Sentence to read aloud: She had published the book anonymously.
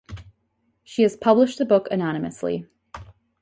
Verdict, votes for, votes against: rejected, 0, 2